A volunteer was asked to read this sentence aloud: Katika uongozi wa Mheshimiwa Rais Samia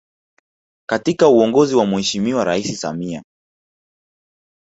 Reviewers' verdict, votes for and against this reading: rejected, 1, 2